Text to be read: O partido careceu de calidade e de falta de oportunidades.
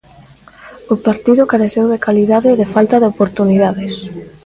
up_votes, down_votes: 2, 0